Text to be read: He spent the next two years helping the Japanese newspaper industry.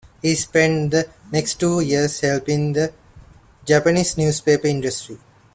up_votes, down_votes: 2, 0